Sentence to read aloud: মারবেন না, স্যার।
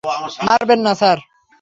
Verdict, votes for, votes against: accepted, 6, 0